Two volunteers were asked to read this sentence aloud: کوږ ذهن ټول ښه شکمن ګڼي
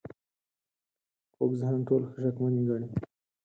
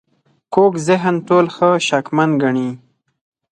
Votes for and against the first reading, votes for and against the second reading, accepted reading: 2, 4, 4, 0, second